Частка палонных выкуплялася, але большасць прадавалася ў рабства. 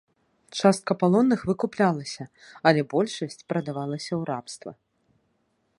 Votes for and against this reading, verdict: 2, 0, accepted